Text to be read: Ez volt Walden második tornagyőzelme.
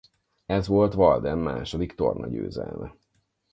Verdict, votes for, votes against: accepted, 4, 0